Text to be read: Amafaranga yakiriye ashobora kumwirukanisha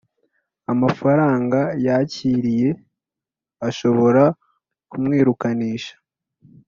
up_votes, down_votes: 3, 0